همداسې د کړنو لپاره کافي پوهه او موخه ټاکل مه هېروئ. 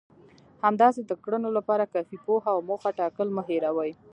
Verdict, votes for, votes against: rejected, 0, 2